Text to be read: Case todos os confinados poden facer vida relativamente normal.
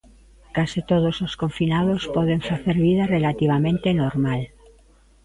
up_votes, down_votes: 0, 2